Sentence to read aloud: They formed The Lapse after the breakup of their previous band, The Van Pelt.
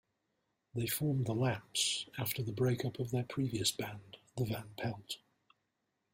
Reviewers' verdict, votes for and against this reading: accepted, 3, 2